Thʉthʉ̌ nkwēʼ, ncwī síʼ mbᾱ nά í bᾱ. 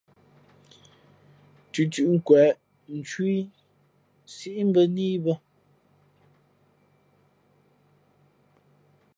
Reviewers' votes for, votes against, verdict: 0, 2, rejected